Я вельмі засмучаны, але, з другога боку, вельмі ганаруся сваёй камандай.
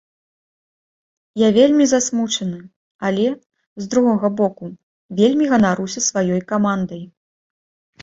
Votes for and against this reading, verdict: 2, 0, accepted